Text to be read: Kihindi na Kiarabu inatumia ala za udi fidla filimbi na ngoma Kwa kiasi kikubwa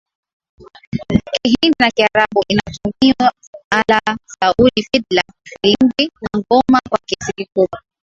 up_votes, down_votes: 5, 7